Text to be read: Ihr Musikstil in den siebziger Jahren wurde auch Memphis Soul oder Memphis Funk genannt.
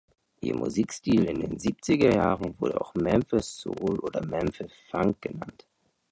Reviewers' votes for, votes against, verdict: 1, 3, rejected